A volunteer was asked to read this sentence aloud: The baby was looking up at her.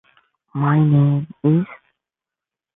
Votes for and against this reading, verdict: 0, 2, rejected